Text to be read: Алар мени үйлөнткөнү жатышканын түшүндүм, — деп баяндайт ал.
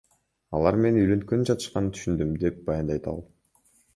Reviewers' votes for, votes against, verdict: 2, 0, accepted